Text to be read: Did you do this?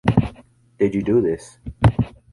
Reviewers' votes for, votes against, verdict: 2, 0, accepted